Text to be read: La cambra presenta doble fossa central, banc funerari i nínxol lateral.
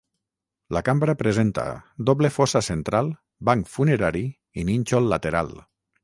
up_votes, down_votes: 3, 3